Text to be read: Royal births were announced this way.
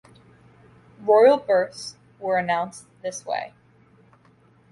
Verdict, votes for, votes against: accepted, 2, 0